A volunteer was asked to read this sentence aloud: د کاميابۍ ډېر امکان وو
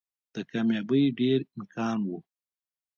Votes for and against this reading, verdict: 1, 2, rejected